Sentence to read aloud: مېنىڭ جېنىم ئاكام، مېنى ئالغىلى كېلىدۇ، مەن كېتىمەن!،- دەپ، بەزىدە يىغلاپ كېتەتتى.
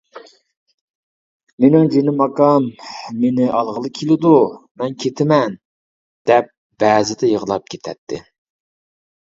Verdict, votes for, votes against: accepted, 2, 0